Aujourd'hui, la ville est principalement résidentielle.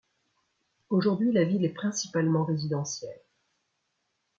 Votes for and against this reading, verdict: 2, 0, accepted